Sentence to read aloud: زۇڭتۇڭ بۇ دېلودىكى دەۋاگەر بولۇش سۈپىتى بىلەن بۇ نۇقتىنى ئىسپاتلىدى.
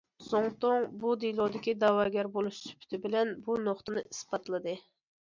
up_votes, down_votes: 2, 0